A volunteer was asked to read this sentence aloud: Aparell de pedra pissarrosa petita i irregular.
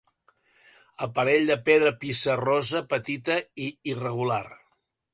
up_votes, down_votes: 2, 0